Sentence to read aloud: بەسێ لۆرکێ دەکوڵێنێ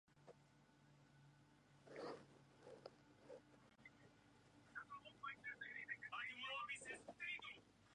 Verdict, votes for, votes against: rejected, 0, 2